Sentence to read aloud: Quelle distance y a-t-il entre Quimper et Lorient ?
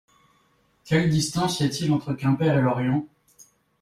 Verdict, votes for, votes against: accepted, 2, 0